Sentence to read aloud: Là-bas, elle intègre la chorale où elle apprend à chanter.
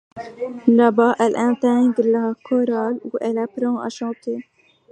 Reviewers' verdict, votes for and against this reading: rejected, 0, 2